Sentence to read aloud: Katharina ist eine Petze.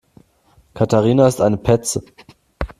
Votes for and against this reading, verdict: 2, 0, accepted